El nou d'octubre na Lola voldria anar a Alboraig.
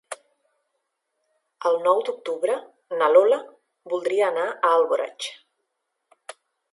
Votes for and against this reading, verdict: 2, 0, accepted